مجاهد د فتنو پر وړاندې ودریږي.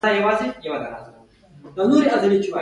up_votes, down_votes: 2, 1